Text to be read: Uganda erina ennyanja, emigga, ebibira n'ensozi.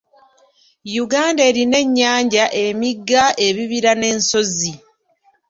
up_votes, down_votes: 2, 0